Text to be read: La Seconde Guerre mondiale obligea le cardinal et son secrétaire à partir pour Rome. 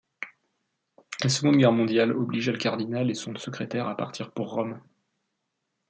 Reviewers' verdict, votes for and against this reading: rejected, 1, 2